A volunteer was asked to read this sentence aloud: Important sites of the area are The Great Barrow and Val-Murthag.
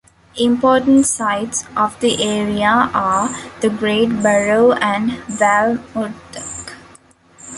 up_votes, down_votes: 2, 1